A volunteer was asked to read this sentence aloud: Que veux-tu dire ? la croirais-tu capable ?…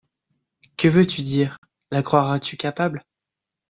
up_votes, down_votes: 0, 2